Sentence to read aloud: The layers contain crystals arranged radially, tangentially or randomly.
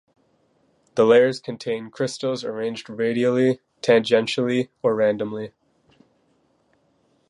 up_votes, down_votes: 2, 0